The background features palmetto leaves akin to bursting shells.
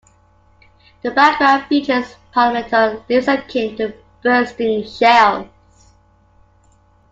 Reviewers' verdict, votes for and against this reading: rejected, 0, 2